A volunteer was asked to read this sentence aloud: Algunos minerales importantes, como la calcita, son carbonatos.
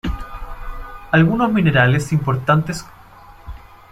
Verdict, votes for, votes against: rejected, 0, 2